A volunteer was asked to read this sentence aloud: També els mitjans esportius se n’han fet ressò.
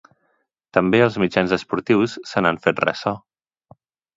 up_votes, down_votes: 2, 0